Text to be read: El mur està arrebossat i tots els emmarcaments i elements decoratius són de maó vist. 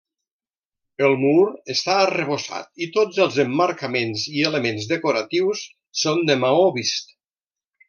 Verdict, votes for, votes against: accepted, 3, 0